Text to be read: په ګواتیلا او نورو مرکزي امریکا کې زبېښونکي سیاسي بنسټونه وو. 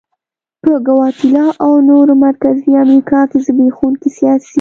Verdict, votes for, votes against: rejected, 1, 2